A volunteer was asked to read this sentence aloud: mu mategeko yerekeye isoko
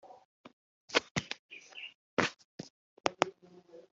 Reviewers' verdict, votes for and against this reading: rejected, 0, 2